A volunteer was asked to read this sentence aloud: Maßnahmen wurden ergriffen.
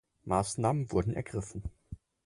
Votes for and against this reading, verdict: 4, 0, accepted